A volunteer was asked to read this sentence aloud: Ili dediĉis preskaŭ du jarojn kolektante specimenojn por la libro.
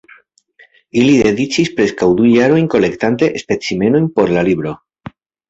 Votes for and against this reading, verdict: 2, 0, accepted